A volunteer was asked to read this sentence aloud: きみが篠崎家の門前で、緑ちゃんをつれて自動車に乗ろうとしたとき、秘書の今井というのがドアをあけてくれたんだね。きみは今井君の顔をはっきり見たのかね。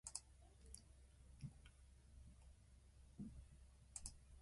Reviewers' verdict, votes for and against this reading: rejected, 1, 2